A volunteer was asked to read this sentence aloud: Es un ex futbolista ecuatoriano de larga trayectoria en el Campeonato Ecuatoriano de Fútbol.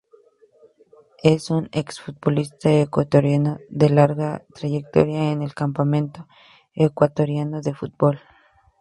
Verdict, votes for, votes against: accepted, 2, 0